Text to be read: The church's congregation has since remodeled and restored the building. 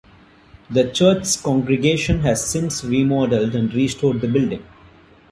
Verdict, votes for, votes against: rejected, 1, 2